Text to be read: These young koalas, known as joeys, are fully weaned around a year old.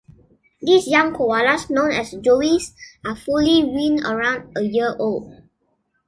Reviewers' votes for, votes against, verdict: 2, 0, accepted